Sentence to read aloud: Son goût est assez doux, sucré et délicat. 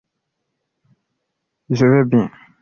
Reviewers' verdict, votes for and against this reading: rejected, 0, 2